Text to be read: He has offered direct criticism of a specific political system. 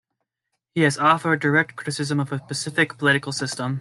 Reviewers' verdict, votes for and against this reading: accepted, 2, 0